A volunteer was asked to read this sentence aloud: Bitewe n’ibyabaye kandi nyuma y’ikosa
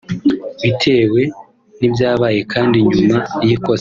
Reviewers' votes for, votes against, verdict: 2, 0, accepted